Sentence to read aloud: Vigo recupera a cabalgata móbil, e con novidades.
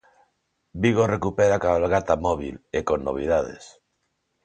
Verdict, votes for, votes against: accepted, 2, 0